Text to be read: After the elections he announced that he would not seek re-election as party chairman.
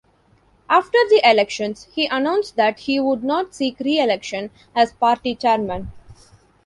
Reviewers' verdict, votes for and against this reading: accepted, 2, 0